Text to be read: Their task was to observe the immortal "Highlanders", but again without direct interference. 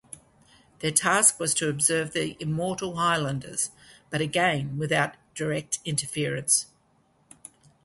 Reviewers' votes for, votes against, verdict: 2, 0, accepted